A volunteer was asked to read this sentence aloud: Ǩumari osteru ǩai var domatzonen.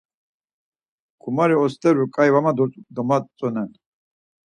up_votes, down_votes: 2, 4